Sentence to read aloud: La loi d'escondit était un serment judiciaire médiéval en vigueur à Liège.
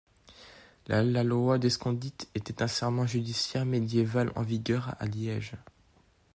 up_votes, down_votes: 2, 1